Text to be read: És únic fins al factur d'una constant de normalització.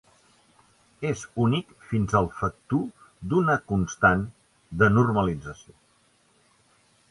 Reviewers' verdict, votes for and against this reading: accepted, 2, 0